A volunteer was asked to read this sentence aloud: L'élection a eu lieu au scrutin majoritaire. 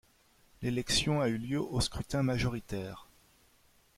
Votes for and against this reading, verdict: 0, 2, rejected